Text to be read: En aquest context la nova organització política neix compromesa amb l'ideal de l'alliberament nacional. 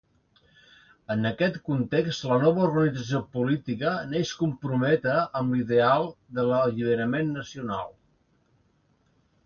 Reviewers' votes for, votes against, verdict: 1, 2, rejected